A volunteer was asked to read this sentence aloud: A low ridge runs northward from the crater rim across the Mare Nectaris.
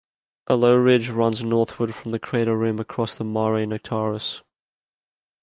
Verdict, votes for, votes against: accepted, 2, 0